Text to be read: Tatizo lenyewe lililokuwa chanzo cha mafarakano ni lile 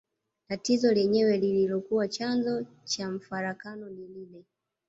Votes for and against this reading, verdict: 1, 2, rejected